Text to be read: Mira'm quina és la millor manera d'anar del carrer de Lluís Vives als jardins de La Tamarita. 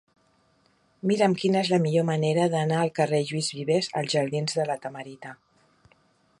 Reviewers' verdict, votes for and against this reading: rejected, 1, 2